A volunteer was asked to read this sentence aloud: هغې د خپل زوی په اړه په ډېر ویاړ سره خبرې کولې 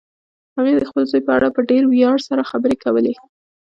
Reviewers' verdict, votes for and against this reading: rejected, 1, 2